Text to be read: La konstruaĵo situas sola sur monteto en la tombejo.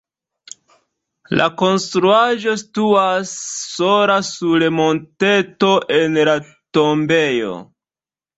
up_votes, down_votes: 0, 2